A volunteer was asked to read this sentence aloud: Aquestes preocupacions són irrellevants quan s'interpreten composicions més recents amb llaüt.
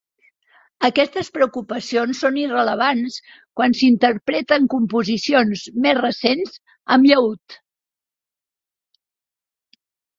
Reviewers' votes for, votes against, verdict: 0, 3, rejected